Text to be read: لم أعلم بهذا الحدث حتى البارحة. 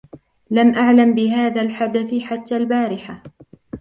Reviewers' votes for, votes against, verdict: 1, 2, rejected